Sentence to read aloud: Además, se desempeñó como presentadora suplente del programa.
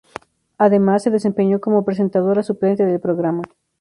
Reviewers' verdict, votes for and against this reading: accepted, 4, 0